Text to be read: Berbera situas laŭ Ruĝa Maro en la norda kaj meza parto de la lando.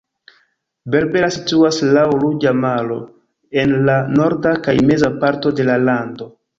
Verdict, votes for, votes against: rejected, 0, 2